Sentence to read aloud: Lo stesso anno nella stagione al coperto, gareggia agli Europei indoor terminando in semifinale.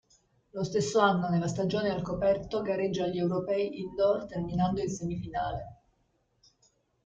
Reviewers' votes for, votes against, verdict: 1, 2, rejected